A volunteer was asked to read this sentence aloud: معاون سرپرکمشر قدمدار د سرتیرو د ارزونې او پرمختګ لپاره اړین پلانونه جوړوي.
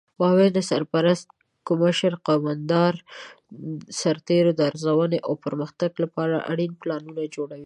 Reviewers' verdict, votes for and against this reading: rejected, 0, 2